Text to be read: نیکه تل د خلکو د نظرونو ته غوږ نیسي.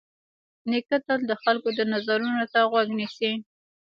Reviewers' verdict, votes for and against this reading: rejected, 1, 2